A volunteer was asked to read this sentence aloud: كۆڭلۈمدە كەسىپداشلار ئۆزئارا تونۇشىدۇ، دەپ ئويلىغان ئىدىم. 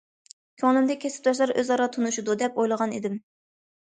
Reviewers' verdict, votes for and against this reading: accepted, 2, 0